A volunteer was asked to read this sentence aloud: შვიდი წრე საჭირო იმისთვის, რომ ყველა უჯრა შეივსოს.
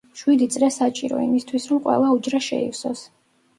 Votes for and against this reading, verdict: 1, 2, rejected